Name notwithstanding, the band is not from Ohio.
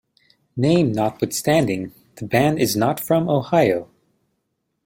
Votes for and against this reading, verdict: 2, 0, accepted